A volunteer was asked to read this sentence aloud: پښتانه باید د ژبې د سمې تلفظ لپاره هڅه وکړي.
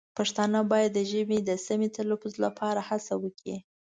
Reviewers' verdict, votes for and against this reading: accepted, 2, 0